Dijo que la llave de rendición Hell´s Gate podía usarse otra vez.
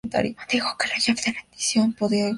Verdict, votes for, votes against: rejected, 0, 2